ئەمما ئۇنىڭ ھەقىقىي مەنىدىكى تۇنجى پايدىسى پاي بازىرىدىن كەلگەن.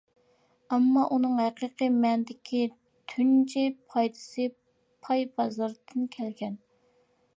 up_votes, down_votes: 2, 0